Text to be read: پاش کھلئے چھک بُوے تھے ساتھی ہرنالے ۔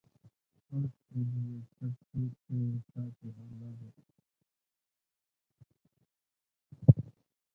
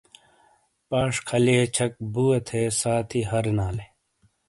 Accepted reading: second